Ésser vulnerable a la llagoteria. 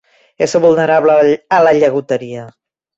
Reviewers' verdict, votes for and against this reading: rejected, 1, 2